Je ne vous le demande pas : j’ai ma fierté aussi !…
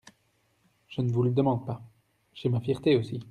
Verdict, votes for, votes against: accepted, 2, 0